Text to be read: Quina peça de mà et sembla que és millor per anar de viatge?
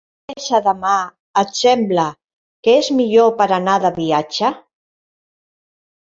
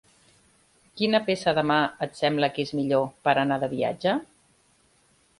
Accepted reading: second